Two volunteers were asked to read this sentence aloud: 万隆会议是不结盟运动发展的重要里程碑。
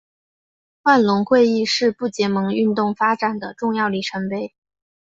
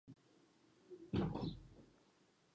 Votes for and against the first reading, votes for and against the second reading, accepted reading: 3, 0, 1, 2, first